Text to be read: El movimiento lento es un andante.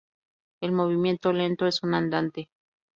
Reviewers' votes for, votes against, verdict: 2, 2, rejected